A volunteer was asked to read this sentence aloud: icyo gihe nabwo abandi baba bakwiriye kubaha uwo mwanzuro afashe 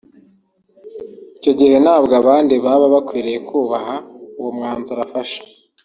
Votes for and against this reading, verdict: 2, 0, accepted